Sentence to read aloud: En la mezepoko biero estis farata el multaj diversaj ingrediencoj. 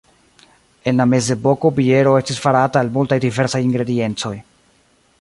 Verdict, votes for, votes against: accepted, 2, 1